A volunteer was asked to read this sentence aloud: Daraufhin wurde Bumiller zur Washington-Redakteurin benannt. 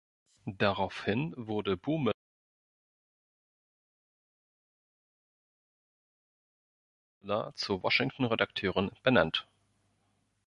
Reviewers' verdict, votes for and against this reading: rejected, 1, 2